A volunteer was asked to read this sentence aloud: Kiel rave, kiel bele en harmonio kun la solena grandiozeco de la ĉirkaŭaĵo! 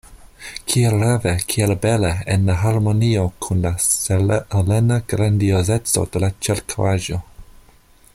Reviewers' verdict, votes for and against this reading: rejected, 1, 2